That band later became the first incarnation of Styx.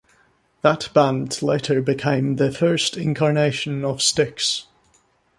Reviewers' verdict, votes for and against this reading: accepted, 2, 0